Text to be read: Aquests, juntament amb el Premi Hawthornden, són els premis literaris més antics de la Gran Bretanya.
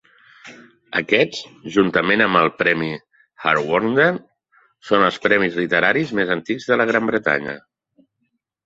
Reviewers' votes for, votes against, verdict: 3, 0, accepted